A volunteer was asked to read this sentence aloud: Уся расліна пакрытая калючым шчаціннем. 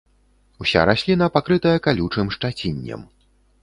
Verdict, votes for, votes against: accepted, 2, 0